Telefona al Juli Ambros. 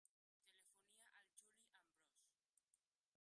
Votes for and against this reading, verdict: 0, 3, rejected